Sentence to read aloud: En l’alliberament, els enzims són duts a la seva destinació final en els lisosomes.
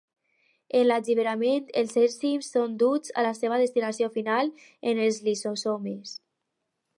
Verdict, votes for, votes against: rejected, 0, 4